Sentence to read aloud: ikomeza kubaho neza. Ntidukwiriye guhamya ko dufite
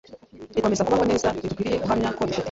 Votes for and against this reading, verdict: 0, 2, rejected